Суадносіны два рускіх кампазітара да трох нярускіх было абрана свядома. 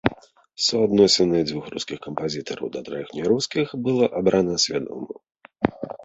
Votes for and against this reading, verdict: 0, 2, rejected